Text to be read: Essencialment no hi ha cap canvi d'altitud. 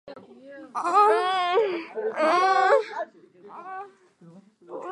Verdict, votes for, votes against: rejected, 1, 3